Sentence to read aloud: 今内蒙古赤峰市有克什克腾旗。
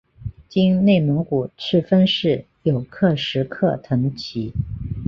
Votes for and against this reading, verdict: 3, 0, accepted